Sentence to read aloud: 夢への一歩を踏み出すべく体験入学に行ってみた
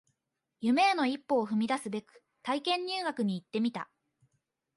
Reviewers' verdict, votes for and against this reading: accepted, 2, 0